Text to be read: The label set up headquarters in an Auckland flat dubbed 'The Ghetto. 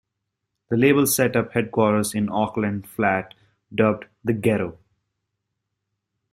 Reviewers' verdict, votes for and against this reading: rejected, 1, 2